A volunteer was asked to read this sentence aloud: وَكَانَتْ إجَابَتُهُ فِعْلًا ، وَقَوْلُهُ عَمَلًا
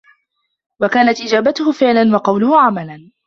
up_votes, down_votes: 2, 1